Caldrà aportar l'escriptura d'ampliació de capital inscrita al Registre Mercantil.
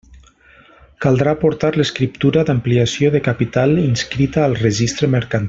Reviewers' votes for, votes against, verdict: 0, 2, rejected